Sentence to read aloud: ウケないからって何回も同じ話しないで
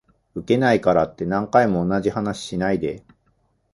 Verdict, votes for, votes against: accepted, 4, 0